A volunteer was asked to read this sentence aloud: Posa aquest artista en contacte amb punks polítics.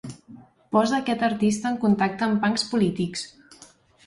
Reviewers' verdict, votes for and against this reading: accepted, 2, 0